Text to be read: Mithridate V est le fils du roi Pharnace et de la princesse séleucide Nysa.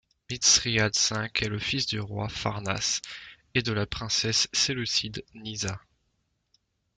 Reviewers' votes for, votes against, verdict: 0, 2, rejected